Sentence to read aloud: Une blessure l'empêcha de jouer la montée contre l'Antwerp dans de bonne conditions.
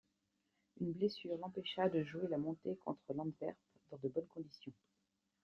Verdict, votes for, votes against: accepted, 2, 0